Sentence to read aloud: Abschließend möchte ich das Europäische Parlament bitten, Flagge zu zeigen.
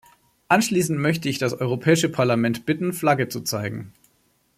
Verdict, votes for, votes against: rejected, 1, 2